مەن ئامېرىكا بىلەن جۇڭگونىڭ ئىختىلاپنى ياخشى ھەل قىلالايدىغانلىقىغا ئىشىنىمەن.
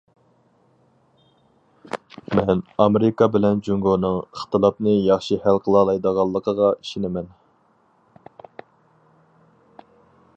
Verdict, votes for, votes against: accepted, 4, 0